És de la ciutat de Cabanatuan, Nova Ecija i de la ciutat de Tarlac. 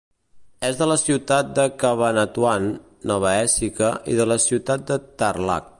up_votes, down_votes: 2, 0